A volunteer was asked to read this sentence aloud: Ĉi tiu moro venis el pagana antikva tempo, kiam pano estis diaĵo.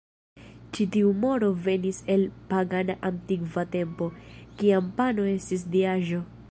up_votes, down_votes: 1, 2